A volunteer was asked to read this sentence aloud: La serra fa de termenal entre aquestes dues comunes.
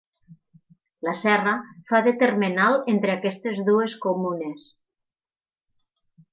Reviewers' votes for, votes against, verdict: 4, 0, accepted